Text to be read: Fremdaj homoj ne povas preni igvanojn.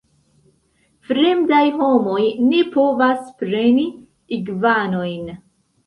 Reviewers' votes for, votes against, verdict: 3, 1, accepted